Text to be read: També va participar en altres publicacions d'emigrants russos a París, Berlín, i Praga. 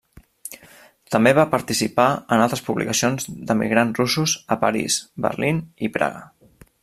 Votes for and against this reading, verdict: 3, 0, accepted